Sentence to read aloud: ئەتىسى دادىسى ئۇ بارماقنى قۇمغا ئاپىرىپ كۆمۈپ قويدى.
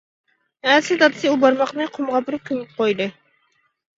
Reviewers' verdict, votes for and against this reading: rejected, 1, 2